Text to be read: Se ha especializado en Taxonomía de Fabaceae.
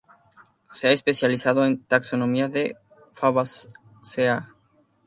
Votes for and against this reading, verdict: 0, 2, rejected